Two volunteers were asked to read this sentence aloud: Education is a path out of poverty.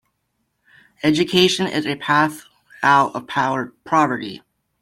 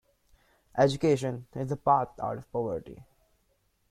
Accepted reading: second